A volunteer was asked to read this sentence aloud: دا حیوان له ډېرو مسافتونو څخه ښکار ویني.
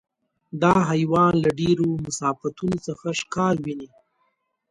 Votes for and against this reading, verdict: 2, 0, accepted